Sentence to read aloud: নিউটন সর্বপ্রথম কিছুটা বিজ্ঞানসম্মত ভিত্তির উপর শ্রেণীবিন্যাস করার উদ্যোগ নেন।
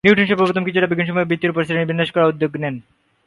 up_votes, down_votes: 3, 6